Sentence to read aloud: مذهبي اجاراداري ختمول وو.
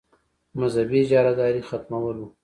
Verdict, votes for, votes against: accepted, 2, 0